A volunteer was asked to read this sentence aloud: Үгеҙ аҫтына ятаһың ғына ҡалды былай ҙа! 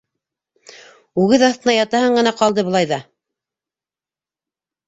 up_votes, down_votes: 2, 0